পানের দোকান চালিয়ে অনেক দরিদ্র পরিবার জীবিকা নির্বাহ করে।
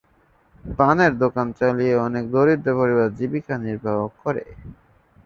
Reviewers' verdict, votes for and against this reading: rejected, 1, 2